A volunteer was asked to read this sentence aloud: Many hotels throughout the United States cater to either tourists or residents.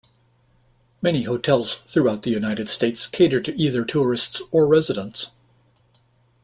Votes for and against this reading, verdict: 2, 0, accepted